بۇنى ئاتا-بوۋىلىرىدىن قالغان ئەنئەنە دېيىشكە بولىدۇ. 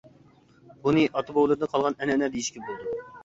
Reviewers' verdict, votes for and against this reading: accepted, 2, 0